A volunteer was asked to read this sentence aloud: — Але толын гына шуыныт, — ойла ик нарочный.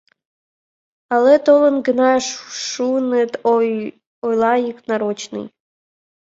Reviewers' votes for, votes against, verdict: 0, 2, rejected